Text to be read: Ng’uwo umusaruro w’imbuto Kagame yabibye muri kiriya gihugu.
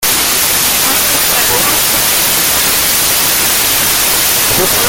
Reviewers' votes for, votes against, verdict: 0, 2, rejected